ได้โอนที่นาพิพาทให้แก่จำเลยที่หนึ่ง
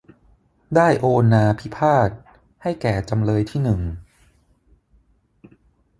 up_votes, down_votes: 0, 6